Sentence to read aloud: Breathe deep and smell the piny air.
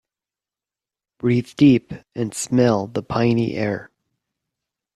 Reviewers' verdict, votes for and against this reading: accepted, 6, 0